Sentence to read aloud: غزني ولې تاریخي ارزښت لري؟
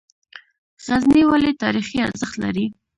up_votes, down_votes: 2, 1